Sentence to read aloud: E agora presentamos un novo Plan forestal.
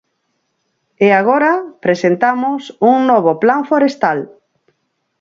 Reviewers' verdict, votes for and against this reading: accepted, 4, 0